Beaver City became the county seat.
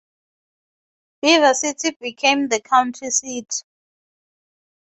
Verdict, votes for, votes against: accepted, 2, 0